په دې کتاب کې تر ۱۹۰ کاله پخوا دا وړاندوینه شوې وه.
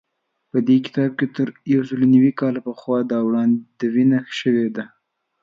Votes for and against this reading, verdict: 0, 2, rejected